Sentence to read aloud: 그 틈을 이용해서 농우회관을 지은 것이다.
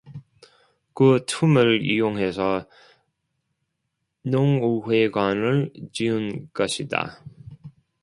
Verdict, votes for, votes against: rejected, 0, 2